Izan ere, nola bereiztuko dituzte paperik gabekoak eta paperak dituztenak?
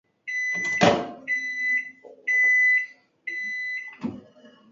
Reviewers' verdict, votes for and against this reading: rejected, 0, 2